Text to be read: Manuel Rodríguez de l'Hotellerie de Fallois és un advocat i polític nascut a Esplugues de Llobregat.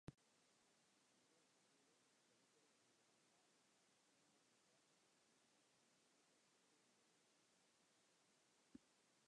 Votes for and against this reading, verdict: 0, 2, rejected